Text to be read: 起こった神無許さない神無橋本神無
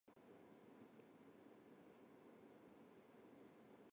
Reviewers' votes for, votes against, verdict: 0, 2, rejected